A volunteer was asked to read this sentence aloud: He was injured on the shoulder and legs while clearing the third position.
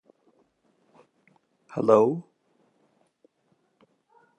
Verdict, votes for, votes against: rejected, 0, 2